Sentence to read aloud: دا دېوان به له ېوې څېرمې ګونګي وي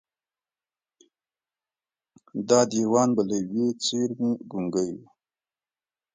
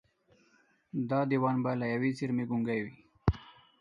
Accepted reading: second